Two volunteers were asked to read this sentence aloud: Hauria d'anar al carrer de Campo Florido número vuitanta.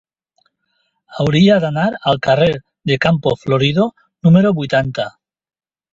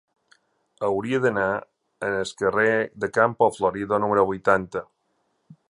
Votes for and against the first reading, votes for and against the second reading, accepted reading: 2, 0, 0, 2, first